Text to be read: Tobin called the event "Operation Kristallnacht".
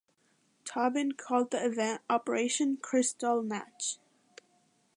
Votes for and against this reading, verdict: 2, 0, accepted